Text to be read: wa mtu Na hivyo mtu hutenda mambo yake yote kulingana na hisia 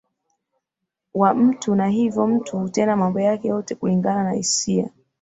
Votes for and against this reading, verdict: 3, 1, accepted